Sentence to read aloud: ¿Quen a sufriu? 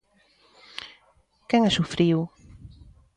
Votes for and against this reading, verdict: 2, 0, accepted